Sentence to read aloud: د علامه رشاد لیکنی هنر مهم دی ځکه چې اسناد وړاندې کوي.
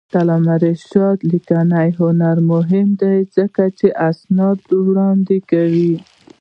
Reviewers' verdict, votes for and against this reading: rejected, 0, 2